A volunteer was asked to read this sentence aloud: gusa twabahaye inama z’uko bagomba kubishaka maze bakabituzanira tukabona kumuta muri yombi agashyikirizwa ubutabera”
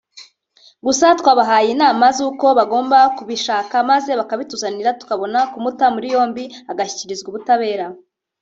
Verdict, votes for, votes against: rejected, 1, 2